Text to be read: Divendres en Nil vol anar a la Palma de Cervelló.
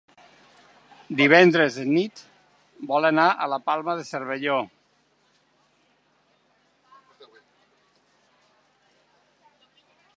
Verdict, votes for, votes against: rejected, 0, 2